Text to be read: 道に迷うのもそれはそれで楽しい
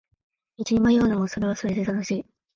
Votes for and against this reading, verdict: 4, 0, accepted